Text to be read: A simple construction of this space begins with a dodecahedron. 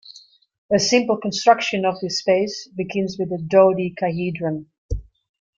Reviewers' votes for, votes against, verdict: 2, 1, accepted